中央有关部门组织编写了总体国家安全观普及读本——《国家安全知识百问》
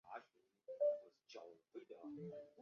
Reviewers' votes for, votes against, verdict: 3, 2, accepted